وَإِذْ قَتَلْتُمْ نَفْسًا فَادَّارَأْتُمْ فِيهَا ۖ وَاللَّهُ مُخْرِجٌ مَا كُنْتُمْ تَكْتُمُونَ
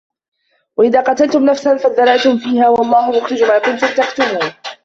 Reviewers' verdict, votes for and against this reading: rejected, 0, 2